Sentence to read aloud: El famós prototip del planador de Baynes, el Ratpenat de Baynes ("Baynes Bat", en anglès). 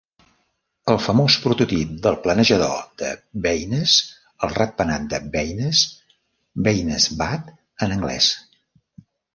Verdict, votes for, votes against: rejected, 0, 2